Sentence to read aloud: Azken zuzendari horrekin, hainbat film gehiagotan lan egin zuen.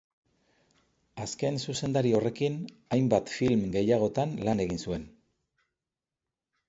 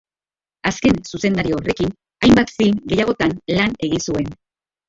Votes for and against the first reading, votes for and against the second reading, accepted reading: 2, 0, 0, 2, first